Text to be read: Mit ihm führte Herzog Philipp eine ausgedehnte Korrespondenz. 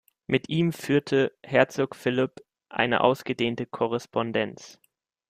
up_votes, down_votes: 2, 0